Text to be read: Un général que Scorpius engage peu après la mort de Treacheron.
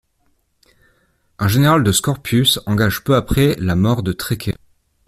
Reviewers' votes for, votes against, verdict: 0, 2, rejected